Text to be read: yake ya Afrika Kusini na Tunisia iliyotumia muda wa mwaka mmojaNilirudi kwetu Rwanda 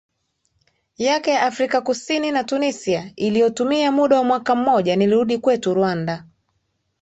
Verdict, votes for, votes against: accepted, 2, 0